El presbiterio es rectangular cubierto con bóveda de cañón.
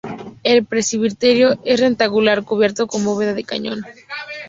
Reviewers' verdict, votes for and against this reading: rejected, 0, 2